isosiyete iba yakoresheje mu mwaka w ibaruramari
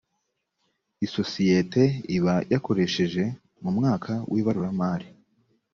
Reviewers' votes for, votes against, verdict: 2, 0, accepted